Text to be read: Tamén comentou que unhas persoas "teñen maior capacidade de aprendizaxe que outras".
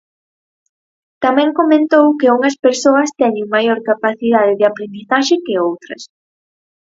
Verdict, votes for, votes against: accepted, 6, 0